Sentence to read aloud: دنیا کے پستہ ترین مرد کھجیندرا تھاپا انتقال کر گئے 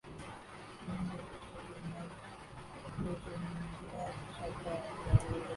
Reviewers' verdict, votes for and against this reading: rejected, 0, 2